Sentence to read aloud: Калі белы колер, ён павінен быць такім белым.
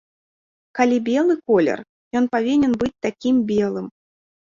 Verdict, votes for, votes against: accepted, 2, 0